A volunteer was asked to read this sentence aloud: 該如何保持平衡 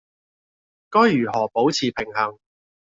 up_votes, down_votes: 2, 0